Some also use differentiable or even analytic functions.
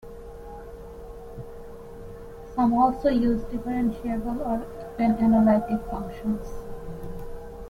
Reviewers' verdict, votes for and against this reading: rejected, 1, 2